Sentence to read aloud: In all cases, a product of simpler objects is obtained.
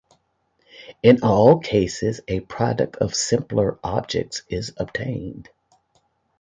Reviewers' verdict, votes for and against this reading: accepted, 2, 0